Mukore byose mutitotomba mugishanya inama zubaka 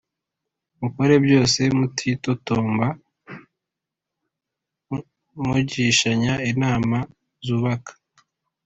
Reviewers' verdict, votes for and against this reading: accepted, 2, 0